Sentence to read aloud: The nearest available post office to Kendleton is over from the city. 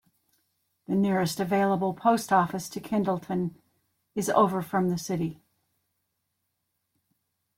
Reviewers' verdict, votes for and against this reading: accepted, 2, 1